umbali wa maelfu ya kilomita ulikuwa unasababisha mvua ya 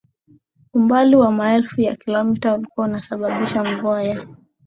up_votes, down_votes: 5, 0